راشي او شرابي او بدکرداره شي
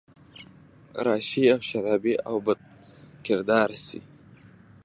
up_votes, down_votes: 2, 0